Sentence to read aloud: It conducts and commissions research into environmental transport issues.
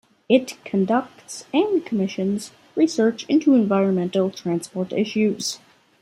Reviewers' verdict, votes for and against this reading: accepted, 2, 0